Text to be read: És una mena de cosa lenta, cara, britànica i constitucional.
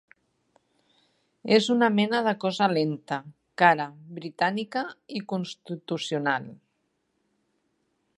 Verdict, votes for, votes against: rejected, 0, 2